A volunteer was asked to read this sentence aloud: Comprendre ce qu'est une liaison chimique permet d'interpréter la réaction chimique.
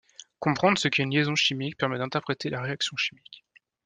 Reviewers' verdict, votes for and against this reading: accepted, 2, 0